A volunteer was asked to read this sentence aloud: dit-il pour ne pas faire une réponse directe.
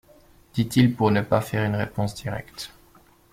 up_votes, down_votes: 2, 0